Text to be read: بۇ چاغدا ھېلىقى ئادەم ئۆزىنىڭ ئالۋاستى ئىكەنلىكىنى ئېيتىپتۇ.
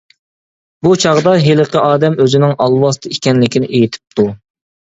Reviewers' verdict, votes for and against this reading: accepted, 2, 0